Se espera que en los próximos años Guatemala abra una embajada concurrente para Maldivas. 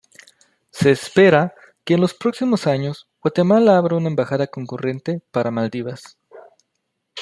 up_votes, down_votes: 2, 0